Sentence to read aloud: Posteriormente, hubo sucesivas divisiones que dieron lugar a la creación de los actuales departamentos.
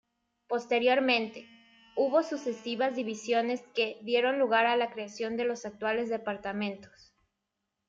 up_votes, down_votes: 2, 0